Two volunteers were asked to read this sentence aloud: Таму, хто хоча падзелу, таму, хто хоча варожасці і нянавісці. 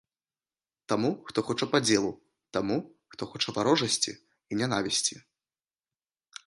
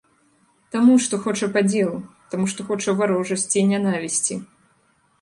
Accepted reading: first